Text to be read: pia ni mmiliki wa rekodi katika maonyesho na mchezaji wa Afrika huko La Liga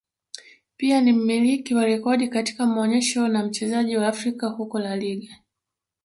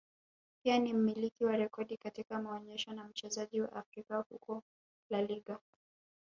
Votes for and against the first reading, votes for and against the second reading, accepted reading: 3, 1, 0, 2, first